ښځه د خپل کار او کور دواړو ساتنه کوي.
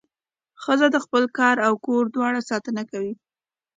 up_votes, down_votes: 2, 0